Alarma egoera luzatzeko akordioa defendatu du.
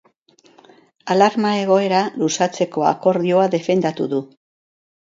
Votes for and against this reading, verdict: 4, 0, accepted